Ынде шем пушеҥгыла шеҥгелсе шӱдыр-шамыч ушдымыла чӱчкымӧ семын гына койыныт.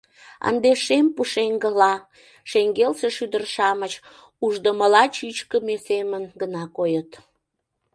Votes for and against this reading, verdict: 1, 2, rejected